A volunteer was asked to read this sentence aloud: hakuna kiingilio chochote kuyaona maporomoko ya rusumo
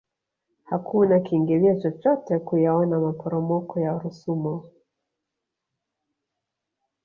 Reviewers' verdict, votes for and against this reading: accepted, 2, 1